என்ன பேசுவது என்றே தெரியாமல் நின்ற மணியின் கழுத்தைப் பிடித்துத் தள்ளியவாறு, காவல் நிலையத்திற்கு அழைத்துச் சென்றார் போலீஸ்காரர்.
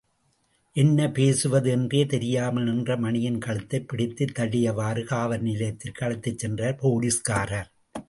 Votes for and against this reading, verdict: 2, 0, accepted